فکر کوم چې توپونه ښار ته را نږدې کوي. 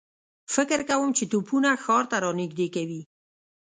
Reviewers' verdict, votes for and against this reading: rejected, 1, 2